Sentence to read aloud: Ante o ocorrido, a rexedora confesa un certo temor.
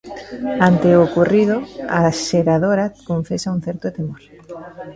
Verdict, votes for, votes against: rejected, 0, 2